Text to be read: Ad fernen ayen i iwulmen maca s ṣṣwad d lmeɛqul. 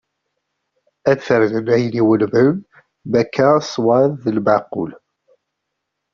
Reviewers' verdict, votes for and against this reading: rejected, 0, 3